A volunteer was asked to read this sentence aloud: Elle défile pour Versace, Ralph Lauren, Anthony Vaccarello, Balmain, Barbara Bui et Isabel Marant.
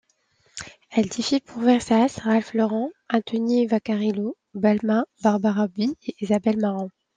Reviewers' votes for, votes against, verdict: 0, 2, rejected